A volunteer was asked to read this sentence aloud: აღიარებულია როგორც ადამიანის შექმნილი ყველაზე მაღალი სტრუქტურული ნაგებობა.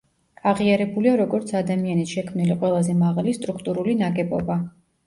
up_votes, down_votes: 1, 2